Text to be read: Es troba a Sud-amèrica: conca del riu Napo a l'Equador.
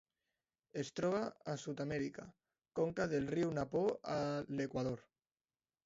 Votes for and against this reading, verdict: 1, 2, rejected